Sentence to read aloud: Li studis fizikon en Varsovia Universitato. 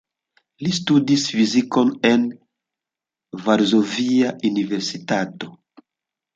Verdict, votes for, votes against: rejected, 0, 2